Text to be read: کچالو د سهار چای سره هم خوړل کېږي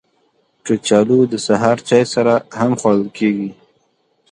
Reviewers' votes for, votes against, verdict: 2, 0, accepted